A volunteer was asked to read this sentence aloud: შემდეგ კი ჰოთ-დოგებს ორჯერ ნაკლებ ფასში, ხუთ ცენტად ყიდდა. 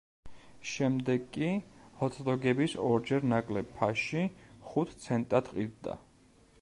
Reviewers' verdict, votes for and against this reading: rejected, 0, 2